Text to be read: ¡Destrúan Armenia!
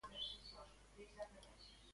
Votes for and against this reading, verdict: 0, 2, rejected